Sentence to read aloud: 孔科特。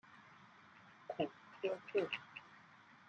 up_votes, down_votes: 0, 2